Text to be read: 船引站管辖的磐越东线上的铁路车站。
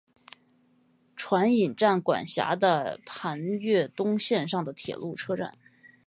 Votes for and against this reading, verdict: 6, 0, accepted